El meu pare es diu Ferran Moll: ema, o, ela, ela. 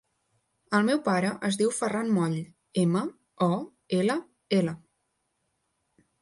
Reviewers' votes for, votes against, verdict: 3, 0, accepted